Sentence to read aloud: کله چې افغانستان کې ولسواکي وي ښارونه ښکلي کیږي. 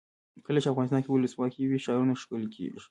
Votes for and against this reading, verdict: 0, 2, rejected